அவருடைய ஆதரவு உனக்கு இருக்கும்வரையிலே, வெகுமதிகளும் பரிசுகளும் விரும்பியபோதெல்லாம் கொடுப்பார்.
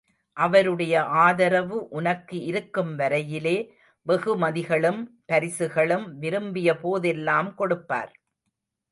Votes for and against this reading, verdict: 0, 2, rejected